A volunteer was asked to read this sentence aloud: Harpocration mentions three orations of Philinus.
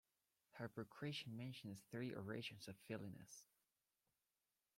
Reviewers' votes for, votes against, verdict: 0, 2, rejected